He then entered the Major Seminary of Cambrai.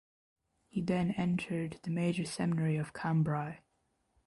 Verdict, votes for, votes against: accepted, 2, 0